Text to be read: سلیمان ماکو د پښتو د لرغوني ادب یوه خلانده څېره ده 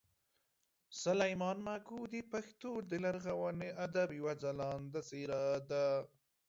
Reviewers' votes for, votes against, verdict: 2, 1, accepted